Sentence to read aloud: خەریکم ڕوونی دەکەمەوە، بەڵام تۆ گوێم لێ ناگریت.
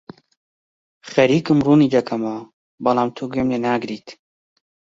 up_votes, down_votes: 2, 0